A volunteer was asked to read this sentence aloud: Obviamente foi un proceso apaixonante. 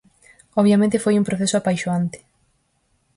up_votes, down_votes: 0, 4